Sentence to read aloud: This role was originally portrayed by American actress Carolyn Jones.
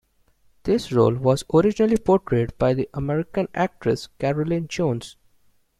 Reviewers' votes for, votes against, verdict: 1, 2, rejected